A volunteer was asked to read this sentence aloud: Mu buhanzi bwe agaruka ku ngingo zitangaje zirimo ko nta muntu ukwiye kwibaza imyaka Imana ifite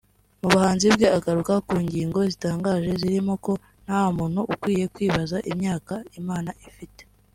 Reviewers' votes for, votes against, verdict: 2, 0, accepted